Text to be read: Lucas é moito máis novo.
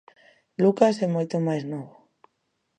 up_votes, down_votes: 2, 0